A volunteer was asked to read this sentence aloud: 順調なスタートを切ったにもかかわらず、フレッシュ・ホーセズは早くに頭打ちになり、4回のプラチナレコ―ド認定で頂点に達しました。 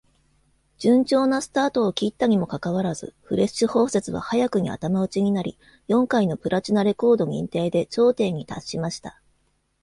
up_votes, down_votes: 0, 2